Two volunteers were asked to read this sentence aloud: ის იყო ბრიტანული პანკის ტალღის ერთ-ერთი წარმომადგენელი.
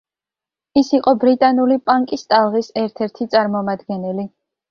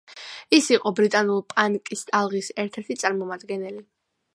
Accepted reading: first